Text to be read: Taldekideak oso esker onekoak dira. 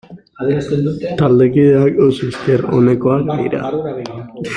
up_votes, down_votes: 0, 2